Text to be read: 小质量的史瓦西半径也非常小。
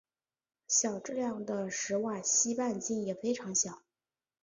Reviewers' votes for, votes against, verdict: 4, 0, accepted